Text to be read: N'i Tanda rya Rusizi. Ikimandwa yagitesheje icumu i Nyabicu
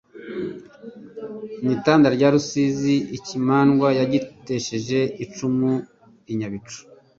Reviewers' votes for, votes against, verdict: 2, 0, accepted